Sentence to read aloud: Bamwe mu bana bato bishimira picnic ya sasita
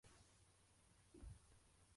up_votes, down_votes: 0, 2